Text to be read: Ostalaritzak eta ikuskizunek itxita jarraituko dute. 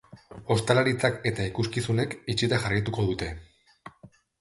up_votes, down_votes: 2, 0